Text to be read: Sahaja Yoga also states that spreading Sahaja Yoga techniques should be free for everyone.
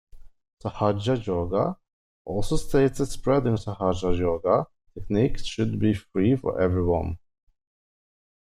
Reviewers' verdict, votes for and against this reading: rejected, 0, 2